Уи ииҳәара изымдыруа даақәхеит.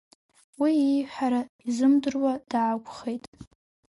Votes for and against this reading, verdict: 2, 0, accepted